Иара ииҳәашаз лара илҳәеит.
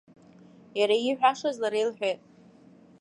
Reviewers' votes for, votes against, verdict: 2, 0, accepted